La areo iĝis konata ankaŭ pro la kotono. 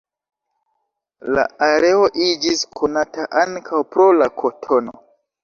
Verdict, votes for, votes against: accepted, 3, 0